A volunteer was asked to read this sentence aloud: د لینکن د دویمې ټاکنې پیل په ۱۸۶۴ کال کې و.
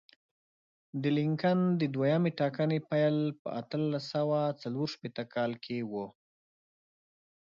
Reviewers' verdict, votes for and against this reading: rejected, 0, 2